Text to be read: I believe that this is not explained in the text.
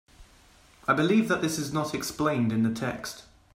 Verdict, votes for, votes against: accepted, 2, 0